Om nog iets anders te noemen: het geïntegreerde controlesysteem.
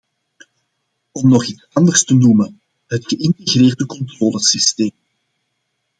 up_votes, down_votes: 2, 0